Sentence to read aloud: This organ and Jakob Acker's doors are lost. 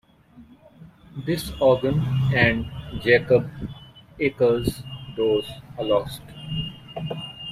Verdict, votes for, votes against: rejected, 1, 2